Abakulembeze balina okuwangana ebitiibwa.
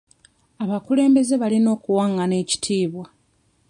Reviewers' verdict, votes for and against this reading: rejected, 0, 2